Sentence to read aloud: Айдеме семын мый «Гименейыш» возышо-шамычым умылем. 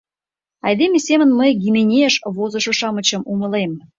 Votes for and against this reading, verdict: 2, 0, accepted